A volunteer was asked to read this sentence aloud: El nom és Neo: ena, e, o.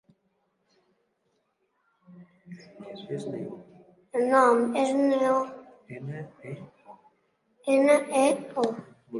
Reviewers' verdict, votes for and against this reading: rejected, 2, 3